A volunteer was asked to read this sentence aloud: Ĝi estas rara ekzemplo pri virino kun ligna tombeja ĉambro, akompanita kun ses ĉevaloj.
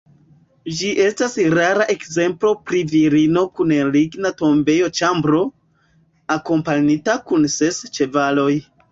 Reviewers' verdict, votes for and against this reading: rejected, 1, 2